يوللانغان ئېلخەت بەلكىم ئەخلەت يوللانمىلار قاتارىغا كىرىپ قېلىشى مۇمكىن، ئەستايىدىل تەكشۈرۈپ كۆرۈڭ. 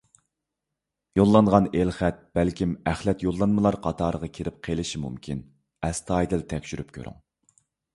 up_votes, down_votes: 2, 0